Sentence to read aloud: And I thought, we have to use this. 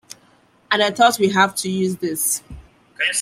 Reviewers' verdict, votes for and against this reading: accepted, 2, 1